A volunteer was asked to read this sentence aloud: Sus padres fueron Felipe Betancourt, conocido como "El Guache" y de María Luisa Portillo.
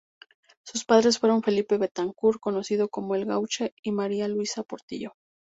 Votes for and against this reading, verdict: 0, 2, rejected